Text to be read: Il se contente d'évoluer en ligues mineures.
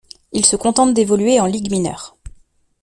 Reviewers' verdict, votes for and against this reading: accepted, 2, 0